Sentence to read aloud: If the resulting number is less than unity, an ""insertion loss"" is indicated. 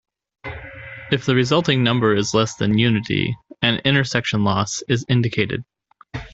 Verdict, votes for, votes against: rejected, 0, 2